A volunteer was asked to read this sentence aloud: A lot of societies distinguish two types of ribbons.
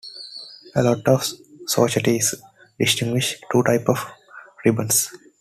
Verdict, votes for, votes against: rejected, 1, 2